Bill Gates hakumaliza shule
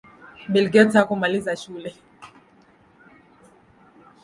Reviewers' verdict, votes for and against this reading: accepted, 2, 0